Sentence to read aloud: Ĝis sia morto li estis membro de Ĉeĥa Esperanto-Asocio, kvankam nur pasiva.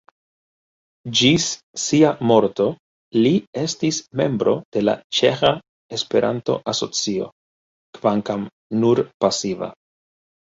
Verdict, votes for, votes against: rejected, 0, 2